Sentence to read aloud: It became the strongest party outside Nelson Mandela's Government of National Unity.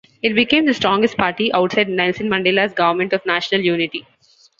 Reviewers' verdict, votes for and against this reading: accepted, 2, 0